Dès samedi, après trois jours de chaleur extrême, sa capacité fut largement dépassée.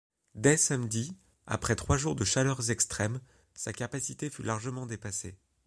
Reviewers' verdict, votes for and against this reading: accepted, 2, 0